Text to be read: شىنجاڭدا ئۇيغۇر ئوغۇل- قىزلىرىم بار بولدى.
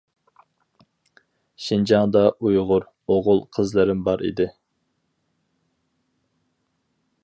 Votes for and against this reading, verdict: 0, 2, rejected